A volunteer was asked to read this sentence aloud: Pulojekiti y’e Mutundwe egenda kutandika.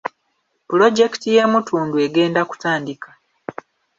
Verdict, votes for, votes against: accepted, 2, 0